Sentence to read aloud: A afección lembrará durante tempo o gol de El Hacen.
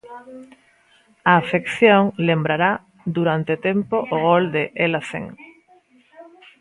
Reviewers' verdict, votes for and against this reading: rejected, 1, 2